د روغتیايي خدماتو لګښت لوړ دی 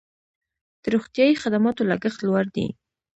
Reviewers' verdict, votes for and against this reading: accepted, 2, 0